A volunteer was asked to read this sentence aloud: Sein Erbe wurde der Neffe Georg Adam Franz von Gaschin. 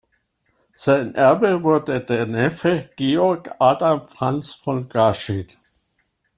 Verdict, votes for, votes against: rejected, 1, 2